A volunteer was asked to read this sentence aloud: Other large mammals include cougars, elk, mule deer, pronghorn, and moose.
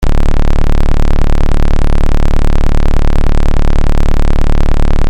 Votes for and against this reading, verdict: 0, 3, rejected